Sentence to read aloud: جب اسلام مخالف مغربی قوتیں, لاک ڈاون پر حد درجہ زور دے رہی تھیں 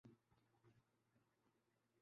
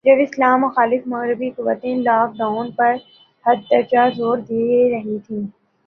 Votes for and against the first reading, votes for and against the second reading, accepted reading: 0, 2, 3, 0, second